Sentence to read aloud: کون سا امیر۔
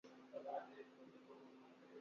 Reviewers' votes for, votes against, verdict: 0, 3, rejected